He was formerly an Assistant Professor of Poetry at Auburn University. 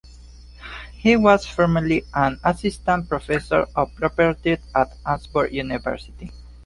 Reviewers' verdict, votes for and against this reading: rejected, 0, 2